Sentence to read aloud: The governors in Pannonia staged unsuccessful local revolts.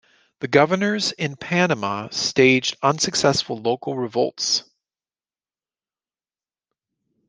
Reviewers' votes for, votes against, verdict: 0, 2, rejected